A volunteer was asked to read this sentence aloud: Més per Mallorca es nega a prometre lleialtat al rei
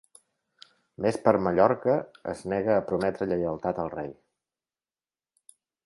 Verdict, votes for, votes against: accepted, 3, 0